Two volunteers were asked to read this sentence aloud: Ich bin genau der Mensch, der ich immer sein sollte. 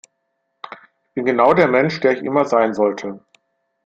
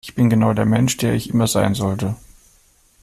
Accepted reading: second